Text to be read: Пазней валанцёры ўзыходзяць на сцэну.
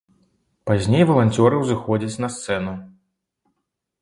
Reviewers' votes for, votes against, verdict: 2, 0, accepted